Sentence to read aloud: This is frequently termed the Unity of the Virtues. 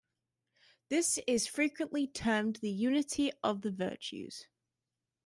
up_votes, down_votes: 2, 0